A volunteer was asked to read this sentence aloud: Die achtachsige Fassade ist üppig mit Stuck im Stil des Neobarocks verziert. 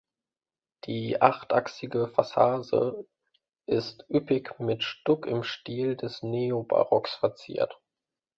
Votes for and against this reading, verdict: 1, 2, rejected